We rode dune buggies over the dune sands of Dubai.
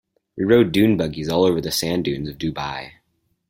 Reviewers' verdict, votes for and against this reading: rejected, 2, 4